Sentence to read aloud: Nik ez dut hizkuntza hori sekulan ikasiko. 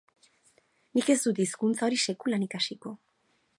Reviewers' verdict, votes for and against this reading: accepted, 4, 0